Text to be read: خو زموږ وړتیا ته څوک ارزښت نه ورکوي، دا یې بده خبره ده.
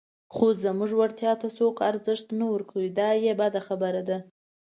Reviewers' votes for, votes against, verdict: 2, 0, accepted